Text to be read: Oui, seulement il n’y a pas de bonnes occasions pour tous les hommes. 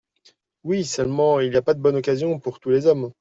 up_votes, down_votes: 0, 2